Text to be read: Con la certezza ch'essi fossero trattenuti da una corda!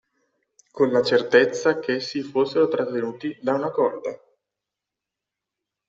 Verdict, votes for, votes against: accepted, 2, 0